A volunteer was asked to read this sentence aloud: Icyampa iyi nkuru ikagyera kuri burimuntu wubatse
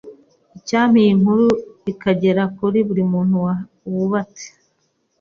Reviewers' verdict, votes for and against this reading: rejected, 1, 2